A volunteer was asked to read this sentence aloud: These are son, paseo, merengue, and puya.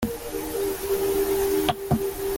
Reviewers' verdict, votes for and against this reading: rejected, 0, 2